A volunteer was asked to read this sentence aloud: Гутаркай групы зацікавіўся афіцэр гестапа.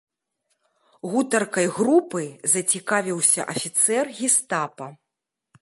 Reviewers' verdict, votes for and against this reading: accepted, 2, 0